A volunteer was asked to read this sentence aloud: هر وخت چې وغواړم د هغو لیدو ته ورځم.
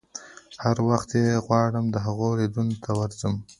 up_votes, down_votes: 1, 2